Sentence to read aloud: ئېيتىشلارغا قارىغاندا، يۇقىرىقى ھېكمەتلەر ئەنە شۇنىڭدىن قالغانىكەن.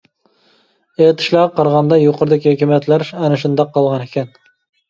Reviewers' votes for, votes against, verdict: 0, 2, rejected